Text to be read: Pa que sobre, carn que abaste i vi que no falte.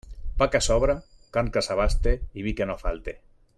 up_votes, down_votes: 0, 2